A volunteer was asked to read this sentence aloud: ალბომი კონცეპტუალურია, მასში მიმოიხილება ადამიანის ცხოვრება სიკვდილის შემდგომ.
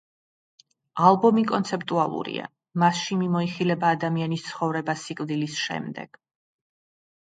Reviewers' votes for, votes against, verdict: 1, 2, rejected